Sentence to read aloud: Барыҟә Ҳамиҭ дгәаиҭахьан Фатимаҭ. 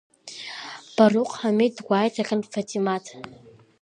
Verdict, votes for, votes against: accepted, 2, 0